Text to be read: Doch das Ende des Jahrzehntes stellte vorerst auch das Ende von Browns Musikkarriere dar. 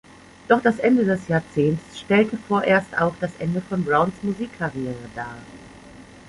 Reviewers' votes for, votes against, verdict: 2, 1, accepted